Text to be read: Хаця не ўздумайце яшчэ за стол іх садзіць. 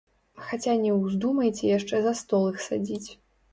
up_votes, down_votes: 0, 2